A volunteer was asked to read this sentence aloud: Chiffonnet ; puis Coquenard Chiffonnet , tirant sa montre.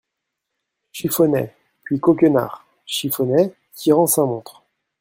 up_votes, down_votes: 2, 0